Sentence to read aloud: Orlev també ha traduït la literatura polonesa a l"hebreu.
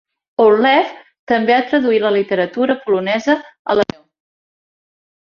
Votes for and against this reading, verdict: 1, 2, rejected